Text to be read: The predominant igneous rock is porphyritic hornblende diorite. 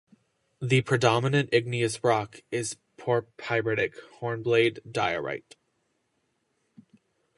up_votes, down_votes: 2, 0